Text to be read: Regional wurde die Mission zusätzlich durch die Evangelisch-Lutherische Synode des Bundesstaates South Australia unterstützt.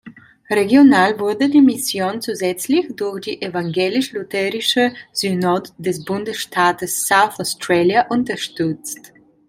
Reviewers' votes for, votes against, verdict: 2, 0, accepted